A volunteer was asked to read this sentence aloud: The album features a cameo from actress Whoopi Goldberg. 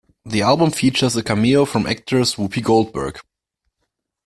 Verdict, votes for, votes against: rejected, 1, 2